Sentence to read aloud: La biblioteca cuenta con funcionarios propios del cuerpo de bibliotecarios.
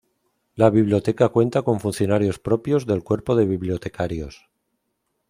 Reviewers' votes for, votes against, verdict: 2, 0, accepted